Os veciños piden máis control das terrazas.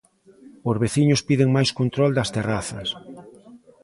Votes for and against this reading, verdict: 1, 2, rejected